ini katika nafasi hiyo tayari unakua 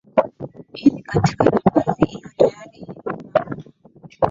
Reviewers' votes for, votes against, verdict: 0, 2, rejected